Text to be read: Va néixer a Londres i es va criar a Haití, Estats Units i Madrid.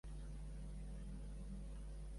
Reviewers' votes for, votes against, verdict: 1, 2, rejected